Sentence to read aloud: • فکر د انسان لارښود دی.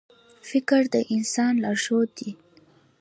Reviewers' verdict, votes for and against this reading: accepted, 2, 0